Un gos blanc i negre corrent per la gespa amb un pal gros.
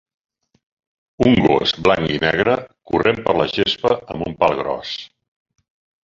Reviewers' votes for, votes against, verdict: 3, 0, accepted